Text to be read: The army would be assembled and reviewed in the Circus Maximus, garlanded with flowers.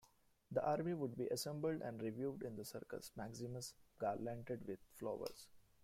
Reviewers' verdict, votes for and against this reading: accepted, 2, 1